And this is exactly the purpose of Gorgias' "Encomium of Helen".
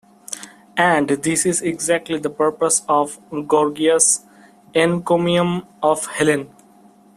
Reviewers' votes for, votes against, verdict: 2, 0, accepted